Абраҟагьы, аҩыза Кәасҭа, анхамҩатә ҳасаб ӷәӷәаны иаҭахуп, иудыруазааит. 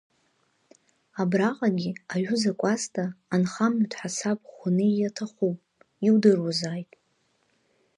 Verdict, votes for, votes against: rejected, 1, 2